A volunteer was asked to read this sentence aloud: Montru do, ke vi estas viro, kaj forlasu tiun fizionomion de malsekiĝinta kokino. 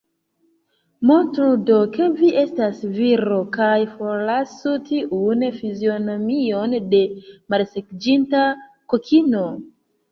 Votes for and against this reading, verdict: 1, 2, rejected